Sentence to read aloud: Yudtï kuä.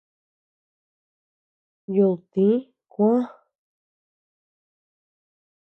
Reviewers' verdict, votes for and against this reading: accepted, 2, 0